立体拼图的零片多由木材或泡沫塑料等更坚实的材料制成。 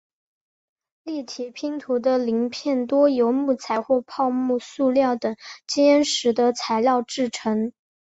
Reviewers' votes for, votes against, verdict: 0, 2, rejected